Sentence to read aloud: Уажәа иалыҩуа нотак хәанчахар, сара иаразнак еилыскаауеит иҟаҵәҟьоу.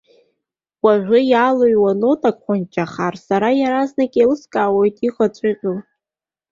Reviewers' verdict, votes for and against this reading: accepted, 2, 0